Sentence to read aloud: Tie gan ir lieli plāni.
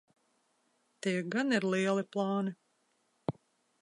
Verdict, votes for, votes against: accepted, 2, 0